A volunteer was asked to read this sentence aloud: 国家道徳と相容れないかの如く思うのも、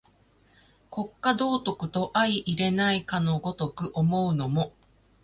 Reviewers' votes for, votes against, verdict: 2, 0, accepted